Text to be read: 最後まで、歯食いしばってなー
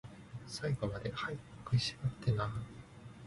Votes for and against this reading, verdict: 0, 2, rejected